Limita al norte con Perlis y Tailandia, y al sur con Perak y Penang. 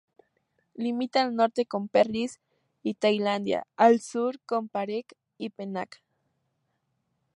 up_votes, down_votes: 2, 0